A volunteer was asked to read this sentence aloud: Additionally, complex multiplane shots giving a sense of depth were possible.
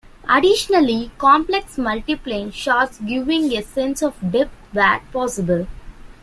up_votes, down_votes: 3, 0